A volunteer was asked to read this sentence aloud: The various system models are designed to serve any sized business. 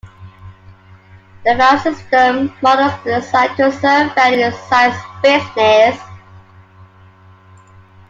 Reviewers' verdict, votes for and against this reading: rejected, 1, 2